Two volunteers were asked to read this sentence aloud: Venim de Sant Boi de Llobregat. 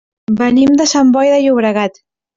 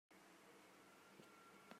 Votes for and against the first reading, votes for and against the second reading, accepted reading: 3, 0, 0, 2, first